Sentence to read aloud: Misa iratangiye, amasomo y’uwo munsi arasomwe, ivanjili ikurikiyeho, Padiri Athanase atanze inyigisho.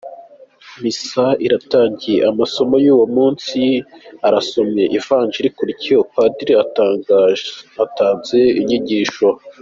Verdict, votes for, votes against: rejected, 0, 3